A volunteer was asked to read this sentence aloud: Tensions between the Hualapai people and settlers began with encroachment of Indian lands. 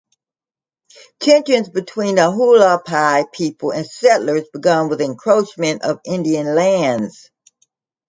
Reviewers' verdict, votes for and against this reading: rejected, 0, 2